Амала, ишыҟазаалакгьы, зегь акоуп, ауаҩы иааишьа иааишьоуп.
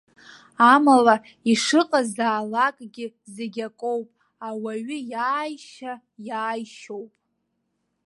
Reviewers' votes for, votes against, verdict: 2, 0, accepted